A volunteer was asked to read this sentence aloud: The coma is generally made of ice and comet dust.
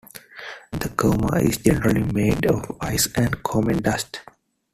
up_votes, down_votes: 2, 1